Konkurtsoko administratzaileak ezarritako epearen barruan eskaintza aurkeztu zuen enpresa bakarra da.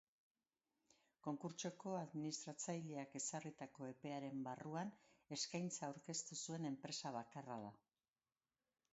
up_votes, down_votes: 0, 2